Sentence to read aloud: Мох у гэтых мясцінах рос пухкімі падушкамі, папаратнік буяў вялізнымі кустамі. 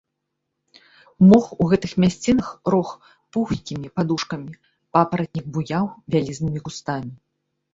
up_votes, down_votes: 1, 2